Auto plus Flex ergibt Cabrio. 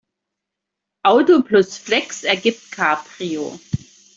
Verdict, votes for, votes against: accepted, 2, 0